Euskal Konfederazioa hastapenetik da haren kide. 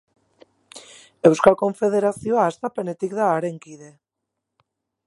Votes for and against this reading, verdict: 4, 0, accepted